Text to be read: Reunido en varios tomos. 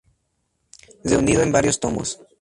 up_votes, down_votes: 2, 0